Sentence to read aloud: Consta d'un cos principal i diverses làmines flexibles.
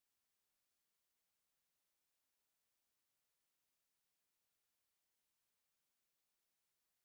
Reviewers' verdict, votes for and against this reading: rejected, 0, 2